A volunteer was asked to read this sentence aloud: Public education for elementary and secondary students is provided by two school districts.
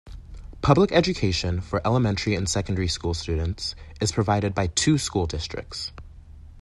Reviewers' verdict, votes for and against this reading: rejected, 0, 2